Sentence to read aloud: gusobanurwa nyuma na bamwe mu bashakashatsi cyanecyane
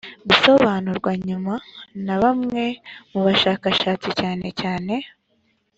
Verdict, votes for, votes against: accepted, 2, 0